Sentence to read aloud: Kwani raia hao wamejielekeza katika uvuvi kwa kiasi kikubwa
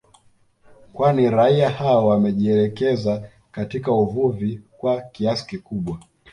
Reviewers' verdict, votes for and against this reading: accepted, 2, 0